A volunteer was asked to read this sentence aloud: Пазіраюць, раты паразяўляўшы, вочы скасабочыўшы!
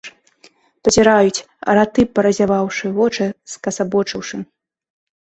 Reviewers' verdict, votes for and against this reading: rejected, 1, 2